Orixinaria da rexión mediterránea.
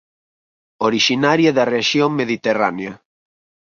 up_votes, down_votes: 4, 0